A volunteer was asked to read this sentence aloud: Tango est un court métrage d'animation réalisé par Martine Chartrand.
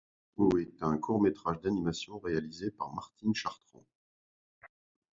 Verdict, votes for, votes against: rejected, 1, 2